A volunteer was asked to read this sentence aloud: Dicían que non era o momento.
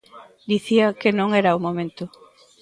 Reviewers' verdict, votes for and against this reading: rejected, 0, 2